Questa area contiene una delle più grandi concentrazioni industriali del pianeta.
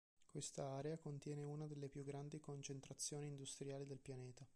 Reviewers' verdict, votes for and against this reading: rejected, 1, 2